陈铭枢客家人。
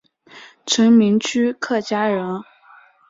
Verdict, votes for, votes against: accepted, 2, 1